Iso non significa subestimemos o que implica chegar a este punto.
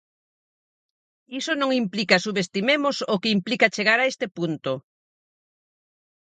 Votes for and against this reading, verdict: 2, 4, rejected